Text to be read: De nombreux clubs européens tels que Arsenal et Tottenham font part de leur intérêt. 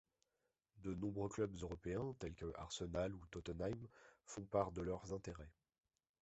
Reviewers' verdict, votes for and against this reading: rejected, 0, 2